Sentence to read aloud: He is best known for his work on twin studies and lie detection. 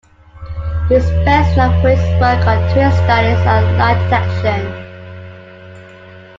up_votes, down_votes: 0, 2